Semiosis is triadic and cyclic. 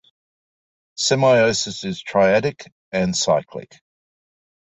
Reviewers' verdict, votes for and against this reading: accepted, 2, 0